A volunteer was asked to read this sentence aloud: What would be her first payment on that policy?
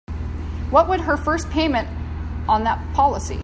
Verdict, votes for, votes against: rejected, 0, 2